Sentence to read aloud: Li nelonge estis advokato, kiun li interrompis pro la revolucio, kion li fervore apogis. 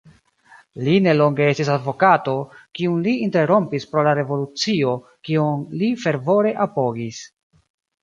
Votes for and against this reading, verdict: 0, 2, rejected